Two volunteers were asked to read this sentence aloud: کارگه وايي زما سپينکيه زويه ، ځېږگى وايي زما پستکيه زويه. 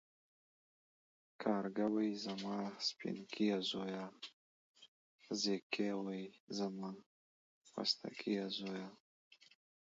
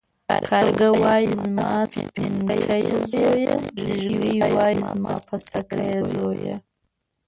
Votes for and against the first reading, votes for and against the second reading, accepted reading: 2, 1, 0, 2, first